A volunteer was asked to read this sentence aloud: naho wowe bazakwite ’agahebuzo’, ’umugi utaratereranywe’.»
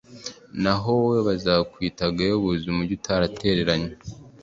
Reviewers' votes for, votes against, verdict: 2, 0, accepted